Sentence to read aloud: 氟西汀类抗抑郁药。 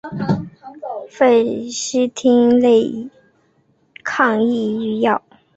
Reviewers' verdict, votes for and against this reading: accepted, 2, 0